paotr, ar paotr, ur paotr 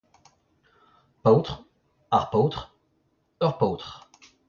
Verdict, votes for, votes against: accepted, 2, 0